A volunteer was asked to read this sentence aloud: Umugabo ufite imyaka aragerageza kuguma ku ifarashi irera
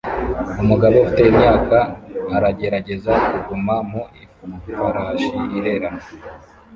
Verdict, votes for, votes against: rejected, 0, 2